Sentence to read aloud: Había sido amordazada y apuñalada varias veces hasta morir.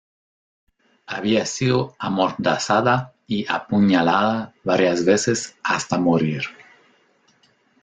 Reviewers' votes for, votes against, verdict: 2, 0, accepted